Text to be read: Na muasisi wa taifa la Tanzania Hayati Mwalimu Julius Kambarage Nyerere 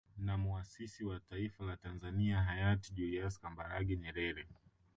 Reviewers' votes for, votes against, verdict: 3, 4, rejected